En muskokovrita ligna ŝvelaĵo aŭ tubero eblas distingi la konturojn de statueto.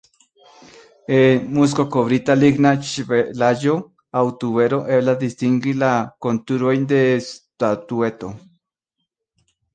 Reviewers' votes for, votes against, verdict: 0, 2, rejected